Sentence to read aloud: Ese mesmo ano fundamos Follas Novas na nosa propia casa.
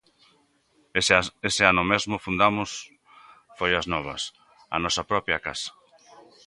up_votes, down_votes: 0, 2